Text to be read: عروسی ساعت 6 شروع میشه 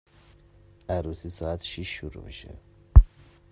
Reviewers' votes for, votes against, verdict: 0, 2, rejected